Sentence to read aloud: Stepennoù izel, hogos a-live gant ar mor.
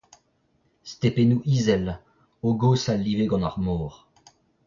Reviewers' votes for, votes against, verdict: 0, 2, rejected